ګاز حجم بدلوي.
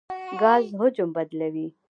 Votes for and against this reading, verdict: 1, 2, rejected